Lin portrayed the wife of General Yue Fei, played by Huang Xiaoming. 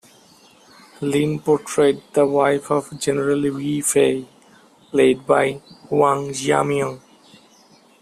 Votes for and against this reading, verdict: 1, 2, rejected